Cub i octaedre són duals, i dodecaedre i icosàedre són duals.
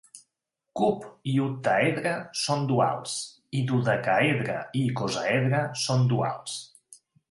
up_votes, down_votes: 2, 0